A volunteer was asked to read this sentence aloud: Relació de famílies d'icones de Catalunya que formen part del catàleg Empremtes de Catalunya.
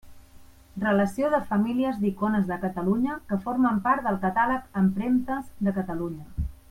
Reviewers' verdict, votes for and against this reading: rejected, 1, 2